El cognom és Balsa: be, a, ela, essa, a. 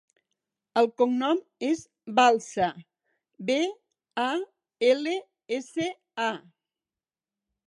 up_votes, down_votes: 0, 4